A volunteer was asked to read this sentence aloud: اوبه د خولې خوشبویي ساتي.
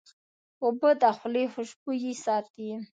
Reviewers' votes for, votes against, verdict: 2, 0, accepted